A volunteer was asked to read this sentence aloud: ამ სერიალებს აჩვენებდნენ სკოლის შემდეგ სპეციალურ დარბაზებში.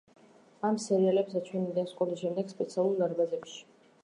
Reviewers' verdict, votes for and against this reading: rejected, 0, 2